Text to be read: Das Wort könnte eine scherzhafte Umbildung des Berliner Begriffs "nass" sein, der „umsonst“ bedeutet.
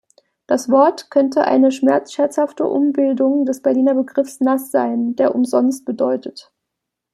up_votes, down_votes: 0, 2